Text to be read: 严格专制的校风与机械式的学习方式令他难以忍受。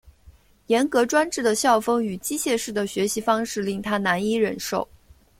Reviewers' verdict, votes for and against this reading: accepted, 2, 0